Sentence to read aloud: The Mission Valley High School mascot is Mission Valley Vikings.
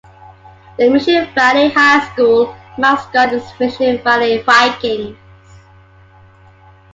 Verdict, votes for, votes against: accepted, 4, 3